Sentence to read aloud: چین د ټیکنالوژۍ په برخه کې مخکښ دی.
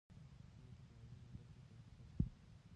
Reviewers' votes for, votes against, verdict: 2, 0, accepted